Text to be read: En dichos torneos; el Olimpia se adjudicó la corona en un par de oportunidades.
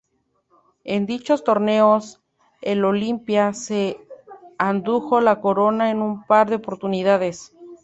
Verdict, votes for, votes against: rejected, 0, 2